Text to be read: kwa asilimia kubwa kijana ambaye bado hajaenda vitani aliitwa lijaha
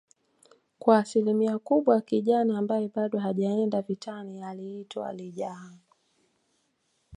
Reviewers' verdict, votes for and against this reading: accepted, 2, 0